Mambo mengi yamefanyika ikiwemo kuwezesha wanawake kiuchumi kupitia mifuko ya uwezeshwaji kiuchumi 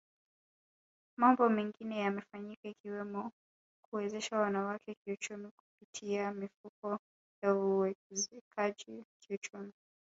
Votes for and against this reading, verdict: 0, 2, rejected